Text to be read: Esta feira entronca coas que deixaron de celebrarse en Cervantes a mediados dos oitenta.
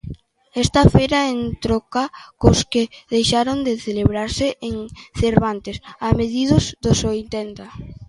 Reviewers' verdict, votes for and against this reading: rejected, 0, 2